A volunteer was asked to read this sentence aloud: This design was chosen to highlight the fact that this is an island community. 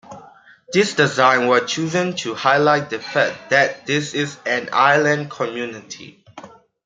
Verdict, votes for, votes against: accepted, 2, 0